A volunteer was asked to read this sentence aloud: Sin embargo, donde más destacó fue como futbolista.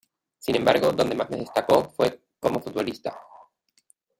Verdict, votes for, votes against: rejected, 1, 2